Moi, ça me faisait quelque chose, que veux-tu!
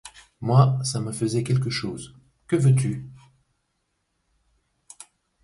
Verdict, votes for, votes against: accepted, 2, 0